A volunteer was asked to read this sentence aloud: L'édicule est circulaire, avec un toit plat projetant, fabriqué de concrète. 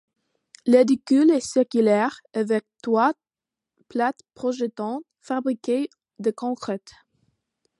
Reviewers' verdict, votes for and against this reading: rejected, 0, 2